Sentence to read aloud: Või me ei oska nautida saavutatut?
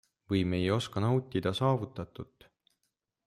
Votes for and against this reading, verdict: 2, 0, accepted